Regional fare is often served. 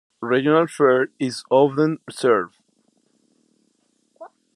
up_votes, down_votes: 0, 2